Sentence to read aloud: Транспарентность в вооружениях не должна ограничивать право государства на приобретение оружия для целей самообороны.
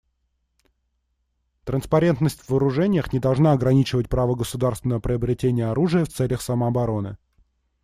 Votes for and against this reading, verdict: 1, 2, rejected